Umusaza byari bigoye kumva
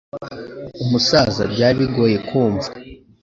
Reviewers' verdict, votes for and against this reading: accepted, 2, 0